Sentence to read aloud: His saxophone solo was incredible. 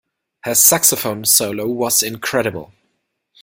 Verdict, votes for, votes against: rejected, 1, 2